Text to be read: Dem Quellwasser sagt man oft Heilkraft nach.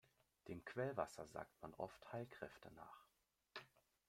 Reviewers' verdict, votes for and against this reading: rejected, 0, 2